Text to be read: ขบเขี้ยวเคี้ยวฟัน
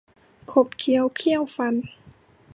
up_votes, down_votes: 1, 2